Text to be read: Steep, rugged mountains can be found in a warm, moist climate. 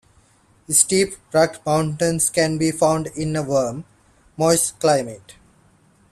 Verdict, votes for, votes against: accepted, 2, 0